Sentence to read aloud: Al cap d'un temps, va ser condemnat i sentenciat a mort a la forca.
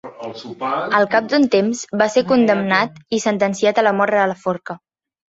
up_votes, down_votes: 1, 2